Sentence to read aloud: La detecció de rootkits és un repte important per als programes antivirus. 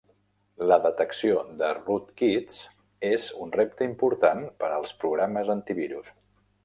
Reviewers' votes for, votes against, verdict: 2, 0, accepted